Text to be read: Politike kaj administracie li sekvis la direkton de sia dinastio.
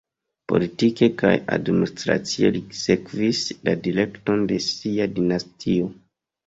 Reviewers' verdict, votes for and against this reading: rejected, 1, 2